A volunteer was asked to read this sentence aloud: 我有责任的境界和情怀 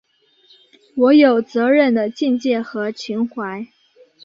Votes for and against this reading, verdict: 2, 0, accepted